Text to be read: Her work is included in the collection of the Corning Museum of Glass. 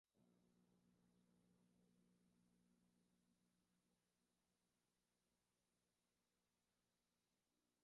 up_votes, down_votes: 1, 2